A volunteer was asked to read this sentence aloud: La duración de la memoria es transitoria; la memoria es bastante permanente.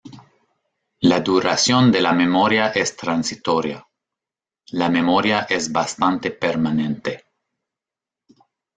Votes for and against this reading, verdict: 2, 0, accepted